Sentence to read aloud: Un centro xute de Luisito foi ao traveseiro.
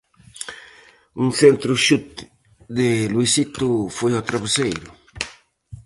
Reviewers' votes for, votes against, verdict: 4, 0, accepted